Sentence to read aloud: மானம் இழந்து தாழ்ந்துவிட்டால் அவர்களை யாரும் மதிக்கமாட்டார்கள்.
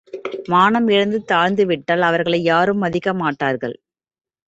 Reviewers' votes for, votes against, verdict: 2, 1, accepted